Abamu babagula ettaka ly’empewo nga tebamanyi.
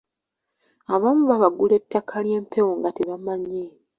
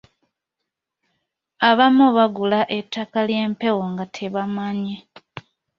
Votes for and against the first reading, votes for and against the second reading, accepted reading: 2, 1, 0, 2, first